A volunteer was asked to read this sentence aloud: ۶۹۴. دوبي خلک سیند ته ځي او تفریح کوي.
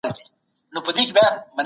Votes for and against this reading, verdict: 0, 2, rejected